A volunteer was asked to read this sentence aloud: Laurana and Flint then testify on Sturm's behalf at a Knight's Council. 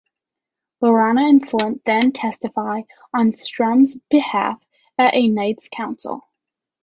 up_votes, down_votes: 1, 2